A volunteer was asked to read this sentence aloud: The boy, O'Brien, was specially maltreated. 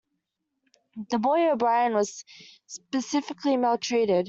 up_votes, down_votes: 1, 2